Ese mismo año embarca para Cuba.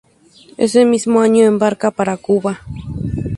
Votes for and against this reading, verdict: 2, 4, rejected